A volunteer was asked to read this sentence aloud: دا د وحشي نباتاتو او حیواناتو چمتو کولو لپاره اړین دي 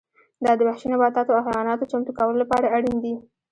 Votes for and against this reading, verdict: 1, 2, rejected